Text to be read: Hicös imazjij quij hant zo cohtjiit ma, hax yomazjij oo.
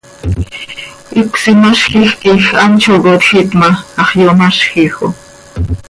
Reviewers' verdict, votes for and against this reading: accepted, 2, 0